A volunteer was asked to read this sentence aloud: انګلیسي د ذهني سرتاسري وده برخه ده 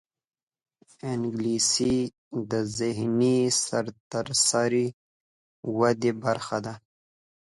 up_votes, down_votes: 1, 2